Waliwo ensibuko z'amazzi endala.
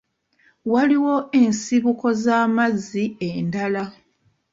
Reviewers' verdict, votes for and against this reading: rejected, 1, 2